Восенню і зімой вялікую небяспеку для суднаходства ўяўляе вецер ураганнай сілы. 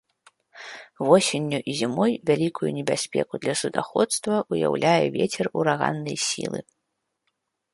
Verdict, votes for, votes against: rejected, 0, 2